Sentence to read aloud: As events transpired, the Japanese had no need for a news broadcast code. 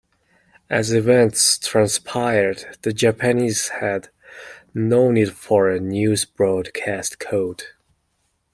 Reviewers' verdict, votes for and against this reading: accepted, 2, 0